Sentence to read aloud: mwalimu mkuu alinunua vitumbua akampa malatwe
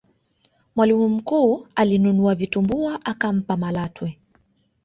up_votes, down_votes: 2, 0